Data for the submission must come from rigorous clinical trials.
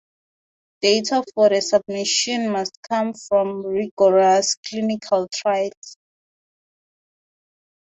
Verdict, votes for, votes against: rejected, 0, 2